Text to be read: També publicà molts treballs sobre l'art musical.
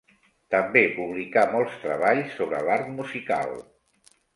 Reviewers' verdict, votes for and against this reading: accepted, 4, 0